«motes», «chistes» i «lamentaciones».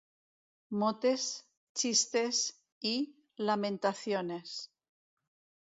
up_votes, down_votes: 1, 2